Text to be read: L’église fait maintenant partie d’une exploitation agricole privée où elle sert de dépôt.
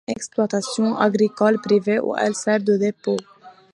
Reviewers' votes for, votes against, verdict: 0, 2, rejected